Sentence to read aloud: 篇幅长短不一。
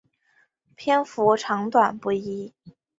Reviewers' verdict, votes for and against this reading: accepted, 3, 0